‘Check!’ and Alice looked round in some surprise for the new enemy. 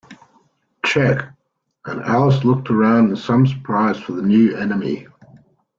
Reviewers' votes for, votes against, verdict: 1, 2, rejected